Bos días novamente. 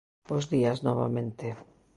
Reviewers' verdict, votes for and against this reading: accepted, 2, 0